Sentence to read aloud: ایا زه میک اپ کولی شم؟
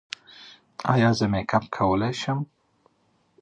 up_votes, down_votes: 3, 0